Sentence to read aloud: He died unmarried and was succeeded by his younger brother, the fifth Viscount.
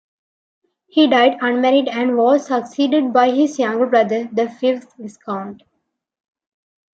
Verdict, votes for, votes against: rejected, 1, 2